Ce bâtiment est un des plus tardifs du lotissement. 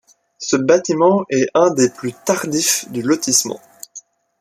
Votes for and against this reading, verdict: 2, 0, accepted